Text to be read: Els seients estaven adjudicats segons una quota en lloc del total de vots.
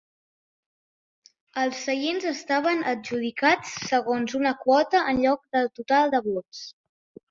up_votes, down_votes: 4, 0